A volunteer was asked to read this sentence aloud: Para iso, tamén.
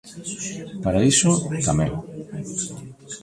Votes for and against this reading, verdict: 1, 2, rejected